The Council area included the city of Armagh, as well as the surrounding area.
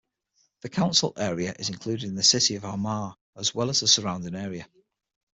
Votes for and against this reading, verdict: 6, 0, accepted